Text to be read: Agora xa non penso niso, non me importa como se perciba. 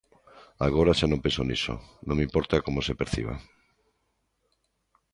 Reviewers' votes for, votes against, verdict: 2, 0, accepted